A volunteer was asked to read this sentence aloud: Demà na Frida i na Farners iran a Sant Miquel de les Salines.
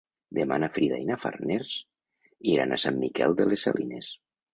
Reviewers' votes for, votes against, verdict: 2, 0, accepted